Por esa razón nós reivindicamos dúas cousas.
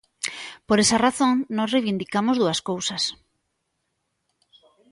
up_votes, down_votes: 2, 0